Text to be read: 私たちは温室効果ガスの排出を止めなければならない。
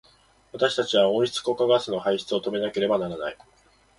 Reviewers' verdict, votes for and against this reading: accepted, 3, 1